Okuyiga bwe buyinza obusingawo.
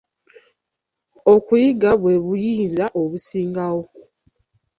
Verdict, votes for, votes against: rejected, 0, 2